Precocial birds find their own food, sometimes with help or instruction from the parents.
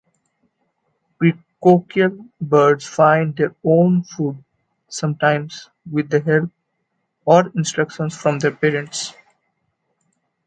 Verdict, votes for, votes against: rejected, 1, 2